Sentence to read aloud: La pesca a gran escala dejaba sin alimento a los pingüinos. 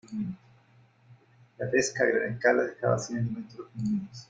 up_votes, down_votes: 0, 2